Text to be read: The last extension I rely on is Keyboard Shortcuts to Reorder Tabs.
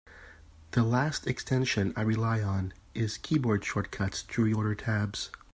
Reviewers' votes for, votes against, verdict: 3, 0, accepted